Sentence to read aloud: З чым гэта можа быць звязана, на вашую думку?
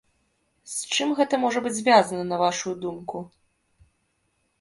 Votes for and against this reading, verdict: 1, 2, rejected